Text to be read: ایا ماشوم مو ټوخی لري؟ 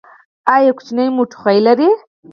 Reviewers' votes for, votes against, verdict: 2, 4, rejected